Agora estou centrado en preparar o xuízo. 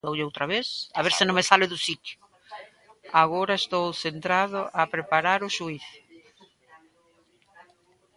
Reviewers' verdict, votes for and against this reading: rejected, 0, 4